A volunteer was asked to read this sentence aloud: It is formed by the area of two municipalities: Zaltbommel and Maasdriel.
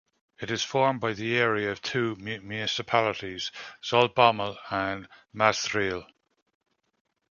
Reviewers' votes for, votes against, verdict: 1, 2, rejected